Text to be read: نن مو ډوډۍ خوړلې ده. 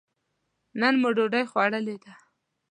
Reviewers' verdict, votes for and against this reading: accepted, 2, 0